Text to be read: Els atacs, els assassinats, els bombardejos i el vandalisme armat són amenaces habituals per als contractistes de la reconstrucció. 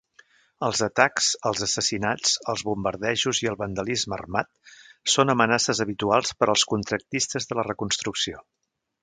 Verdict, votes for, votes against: accepted, 2, 0